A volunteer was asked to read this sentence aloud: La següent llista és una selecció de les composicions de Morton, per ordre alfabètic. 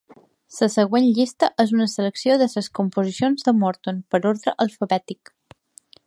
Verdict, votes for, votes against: accepted, 2, 1